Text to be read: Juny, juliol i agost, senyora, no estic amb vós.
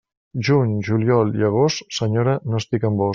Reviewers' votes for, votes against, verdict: 0, 2, rejected